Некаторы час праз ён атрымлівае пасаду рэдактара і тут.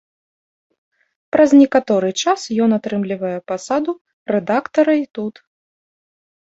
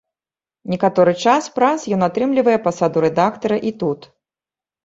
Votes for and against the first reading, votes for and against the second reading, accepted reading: 0, 2, 2, 0, second